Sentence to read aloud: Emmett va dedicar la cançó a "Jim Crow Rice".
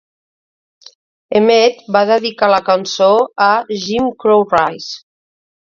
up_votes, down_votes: 2, 0